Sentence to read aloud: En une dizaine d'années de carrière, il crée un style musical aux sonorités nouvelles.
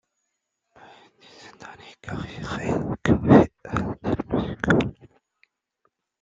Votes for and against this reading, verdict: 0, 2, rejected